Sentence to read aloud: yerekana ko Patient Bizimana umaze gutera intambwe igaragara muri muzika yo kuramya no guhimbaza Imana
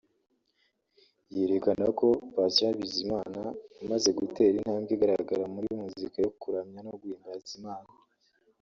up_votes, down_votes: 2, 1